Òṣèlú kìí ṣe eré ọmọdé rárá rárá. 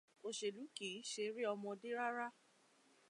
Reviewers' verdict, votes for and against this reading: rejected, 0, 2